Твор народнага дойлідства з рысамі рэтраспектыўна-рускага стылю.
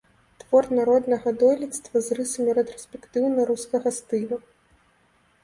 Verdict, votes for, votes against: accepted, 2, 1